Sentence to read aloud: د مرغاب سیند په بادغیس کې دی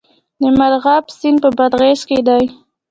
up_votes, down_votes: 3, 0